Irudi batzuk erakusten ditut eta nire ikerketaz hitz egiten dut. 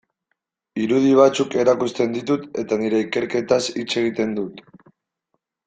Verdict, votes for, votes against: accepted, 2, 0